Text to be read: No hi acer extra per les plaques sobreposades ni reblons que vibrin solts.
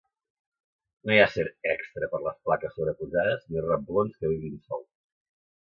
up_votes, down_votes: 2, 1